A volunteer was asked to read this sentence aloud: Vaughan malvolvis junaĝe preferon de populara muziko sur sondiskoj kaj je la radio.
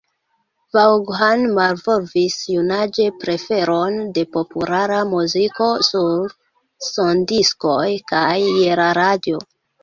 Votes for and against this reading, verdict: 1, 2, rejected